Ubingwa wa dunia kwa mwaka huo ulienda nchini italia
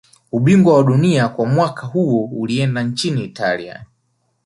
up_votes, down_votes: 2, 0